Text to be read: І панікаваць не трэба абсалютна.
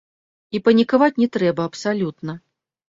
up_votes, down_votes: 1, 2